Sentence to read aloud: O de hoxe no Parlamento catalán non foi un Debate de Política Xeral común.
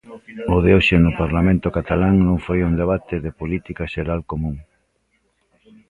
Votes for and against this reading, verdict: 2, 1, accepted